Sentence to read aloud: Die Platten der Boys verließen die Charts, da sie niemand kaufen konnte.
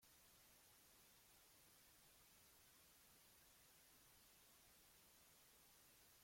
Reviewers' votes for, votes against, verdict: 0, 2, rejected